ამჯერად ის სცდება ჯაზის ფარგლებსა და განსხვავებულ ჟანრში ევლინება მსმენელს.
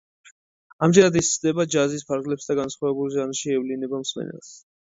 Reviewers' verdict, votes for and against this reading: accepted, 2, 0